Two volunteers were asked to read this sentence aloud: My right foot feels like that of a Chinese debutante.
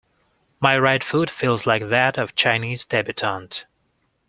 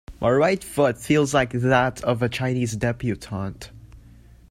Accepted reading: second